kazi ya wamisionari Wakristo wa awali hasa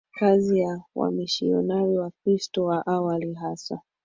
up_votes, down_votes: 1, 3